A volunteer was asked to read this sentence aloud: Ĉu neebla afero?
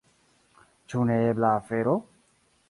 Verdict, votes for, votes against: accepted, 2, 0